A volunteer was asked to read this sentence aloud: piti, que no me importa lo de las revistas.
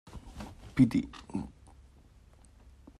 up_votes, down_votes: 0, 2